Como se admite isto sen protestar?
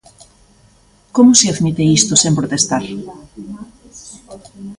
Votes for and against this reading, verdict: 1, 2, rejected